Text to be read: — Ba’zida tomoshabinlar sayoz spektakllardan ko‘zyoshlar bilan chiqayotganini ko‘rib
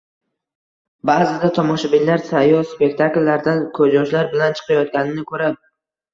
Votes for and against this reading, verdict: 2, 0, accepted